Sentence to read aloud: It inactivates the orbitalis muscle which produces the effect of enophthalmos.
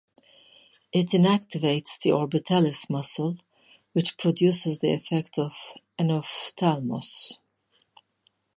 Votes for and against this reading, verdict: 2, 0, accepted